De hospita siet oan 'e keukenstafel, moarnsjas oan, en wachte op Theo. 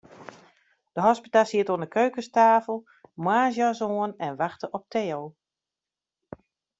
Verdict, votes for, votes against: accepted, 2, 1